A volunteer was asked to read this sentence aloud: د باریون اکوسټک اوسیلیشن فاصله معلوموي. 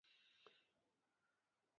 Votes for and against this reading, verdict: 0, 2, rejected